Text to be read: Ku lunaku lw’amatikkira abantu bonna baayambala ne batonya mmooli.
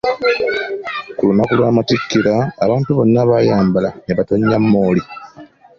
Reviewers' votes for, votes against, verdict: 1, 2, rejected